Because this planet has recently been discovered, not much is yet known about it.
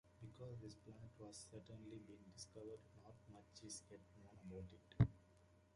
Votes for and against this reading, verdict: 0, 2, rejected